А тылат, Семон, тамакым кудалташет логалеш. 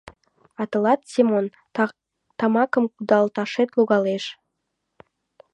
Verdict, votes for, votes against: rejected, 0, 2